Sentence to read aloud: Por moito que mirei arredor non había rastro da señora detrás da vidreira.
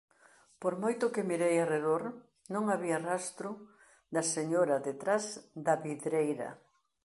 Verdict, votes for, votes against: accepted, 2, 0